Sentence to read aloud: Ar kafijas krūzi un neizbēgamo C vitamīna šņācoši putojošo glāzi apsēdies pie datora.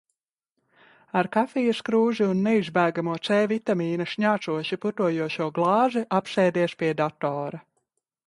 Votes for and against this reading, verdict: 1, 2, rejected